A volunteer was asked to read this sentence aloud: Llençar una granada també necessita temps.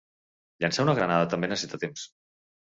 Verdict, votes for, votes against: rejected, 1, 2